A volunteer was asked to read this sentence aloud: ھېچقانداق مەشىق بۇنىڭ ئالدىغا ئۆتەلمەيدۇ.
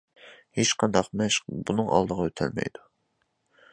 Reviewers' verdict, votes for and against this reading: accepted, 2, 0